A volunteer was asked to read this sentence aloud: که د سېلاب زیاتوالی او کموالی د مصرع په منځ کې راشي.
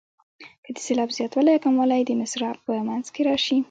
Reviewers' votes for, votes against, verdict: 0, 2, rejected